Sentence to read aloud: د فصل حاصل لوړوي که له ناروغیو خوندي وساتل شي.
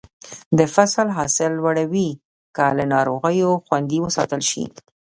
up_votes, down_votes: 0, 2